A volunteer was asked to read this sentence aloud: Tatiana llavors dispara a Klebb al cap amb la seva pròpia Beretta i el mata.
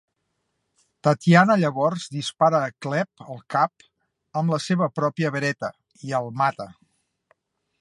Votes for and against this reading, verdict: 2, 0, accepted